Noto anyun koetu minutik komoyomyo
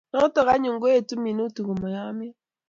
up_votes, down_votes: 2, 0